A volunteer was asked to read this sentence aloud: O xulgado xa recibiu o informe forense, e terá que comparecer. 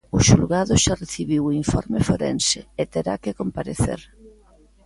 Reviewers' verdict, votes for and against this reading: accepted, 2, 0